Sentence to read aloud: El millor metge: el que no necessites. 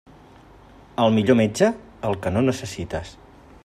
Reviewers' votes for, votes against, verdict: 4, 0, accepted